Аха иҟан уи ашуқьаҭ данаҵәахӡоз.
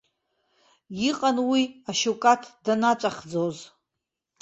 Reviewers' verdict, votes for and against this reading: rejected, 0, 2